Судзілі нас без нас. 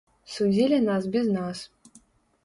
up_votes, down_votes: 0, 3